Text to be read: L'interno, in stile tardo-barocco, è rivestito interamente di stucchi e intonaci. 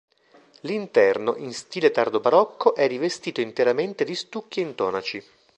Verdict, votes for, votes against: accepted, 2, 0